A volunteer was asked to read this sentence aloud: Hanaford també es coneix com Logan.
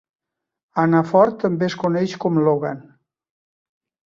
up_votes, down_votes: 3, 0